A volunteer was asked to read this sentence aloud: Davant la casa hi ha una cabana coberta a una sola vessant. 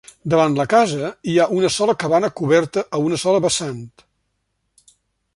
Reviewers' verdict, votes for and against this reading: rejected, 1, 2